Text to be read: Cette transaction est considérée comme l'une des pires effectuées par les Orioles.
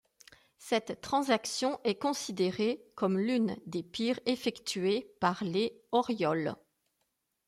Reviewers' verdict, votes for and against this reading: accepted, 2, 0